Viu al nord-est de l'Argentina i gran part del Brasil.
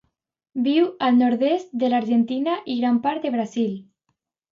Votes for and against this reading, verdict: 1, 2, rejected